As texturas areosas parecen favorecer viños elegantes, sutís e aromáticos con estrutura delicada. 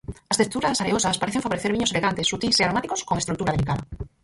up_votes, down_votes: 0, 4